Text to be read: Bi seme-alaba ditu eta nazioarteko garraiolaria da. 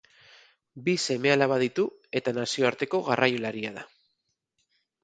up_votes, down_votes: 2, 0